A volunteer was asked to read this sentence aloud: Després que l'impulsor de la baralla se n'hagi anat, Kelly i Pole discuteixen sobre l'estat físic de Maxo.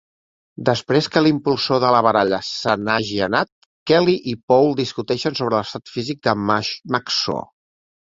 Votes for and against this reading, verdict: 0, 2, rejected